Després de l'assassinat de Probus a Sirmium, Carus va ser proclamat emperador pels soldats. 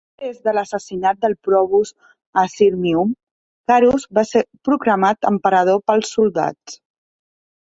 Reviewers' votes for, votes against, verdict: 0, 2, rejected